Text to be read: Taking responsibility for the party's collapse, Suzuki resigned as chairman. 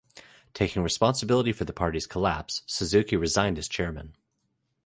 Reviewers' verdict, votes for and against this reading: accepted, 2, 0